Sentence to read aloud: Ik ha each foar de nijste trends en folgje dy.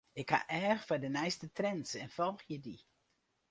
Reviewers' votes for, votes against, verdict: 0, 2, rejected